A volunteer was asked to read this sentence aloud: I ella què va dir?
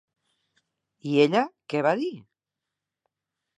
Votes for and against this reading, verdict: 3, 0, accepted